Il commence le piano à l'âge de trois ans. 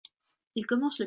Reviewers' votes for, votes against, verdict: 0, 3, rejected